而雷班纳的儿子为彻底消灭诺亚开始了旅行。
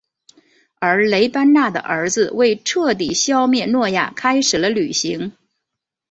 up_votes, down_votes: 4, 0